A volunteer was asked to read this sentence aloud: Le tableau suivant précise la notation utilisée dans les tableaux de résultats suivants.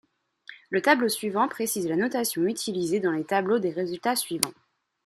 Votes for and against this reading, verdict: 0, 2, rejected